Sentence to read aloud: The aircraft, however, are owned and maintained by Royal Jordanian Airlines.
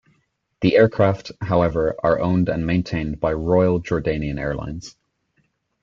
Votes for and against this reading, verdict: 2, 0, accepted